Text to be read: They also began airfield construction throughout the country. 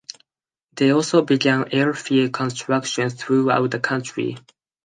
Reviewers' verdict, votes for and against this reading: accepted, 4, 0